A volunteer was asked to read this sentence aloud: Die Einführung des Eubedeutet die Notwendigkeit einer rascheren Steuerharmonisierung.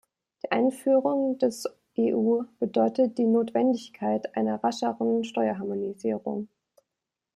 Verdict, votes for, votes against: rejected, 0, 2